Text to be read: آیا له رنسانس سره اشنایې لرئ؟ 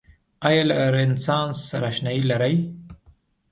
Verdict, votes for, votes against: accepted, 2, 0